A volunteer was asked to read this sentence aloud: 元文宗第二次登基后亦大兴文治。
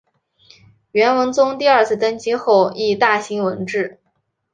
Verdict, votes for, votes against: accepted, 3, 0